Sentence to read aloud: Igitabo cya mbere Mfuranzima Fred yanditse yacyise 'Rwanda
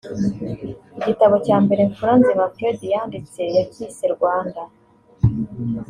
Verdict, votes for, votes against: accepted, 2, 0